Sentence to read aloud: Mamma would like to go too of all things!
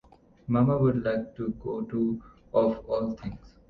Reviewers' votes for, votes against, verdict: 2, 0, accepted